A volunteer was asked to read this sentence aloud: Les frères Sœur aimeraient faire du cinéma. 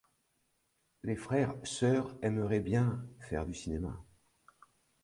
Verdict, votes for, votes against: rejected, 1, 2